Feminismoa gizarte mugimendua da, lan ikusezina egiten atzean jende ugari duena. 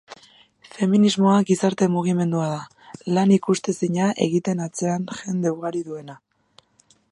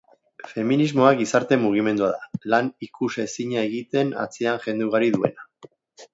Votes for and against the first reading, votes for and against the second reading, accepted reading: 0, 2, 2, 0, second